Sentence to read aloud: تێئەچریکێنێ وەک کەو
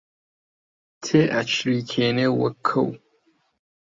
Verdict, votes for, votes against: accepted, 2, 1